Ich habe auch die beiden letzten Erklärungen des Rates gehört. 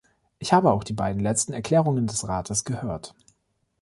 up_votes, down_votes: 2, 0